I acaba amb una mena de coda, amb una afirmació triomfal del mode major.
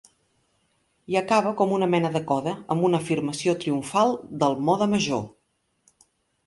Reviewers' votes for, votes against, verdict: 0, 2, rejected